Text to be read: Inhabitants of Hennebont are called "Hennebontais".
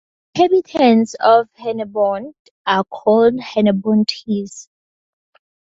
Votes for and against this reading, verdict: 0, 4, rejected